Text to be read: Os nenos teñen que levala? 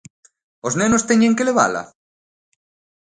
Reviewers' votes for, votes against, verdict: 2, 0, accepted